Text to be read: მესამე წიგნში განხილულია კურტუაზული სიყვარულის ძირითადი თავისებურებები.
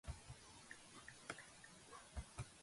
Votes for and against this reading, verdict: 1, 2, rejected